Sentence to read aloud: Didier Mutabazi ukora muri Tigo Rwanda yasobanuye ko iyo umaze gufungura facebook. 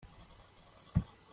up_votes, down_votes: 0, 2